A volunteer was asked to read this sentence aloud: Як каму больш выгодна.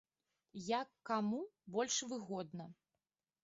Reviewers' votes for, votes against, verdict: 2, 0, accepted